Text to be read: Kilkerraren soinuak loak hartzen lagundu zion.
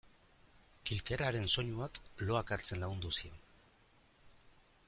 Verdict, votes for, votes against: accepted, 2, 0